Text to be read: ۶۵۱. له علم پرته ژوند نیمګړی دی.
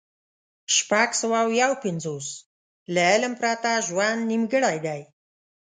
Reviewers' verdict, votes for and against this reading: rejected, 0, 2